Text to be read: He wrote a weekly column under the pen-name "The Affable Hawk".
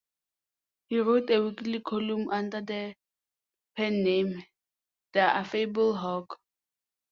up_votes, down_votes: 2, 0